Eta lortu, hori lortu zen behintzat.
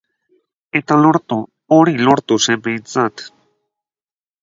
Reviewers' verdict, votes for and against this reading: rejected, 2, 4